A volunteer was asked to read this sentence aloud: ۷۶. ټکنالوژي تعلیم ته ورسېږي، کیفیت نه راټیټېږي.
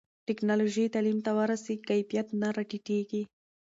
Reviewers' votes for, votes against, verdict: 0, 2, rejected